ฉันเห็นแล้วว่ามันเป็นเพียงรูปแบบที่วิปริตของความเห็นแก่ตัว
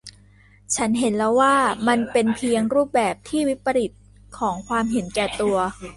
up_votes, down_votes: 2, 0